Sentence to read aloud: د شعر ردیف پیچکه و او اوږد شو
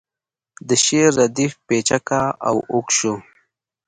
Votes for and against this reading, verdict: 2, 0, accepted